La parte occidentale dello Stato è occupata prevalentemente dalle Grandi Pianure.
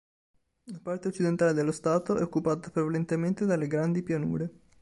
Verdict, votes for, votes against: accepted, 3, 0